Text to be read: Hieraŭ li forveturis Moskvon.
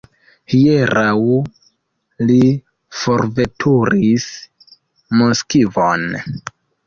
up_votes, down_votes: 0, 2